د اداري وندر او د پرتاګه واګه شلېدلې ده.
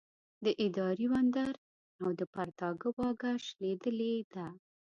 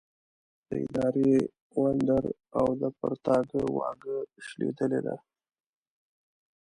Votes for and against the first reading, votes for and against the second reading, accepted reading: 2, 0, 0, 2, first